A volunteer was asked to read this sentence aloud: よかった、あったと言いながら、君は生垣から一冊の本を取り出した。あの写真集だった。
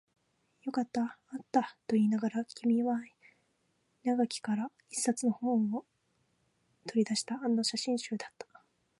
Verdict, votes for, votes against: rejected, 0, 2